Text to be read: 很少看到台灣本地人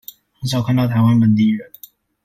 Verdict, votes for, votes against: accepted, 2, 1